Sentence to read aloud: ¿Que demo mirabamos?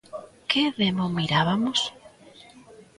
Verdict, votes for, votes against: rejected, 0, 2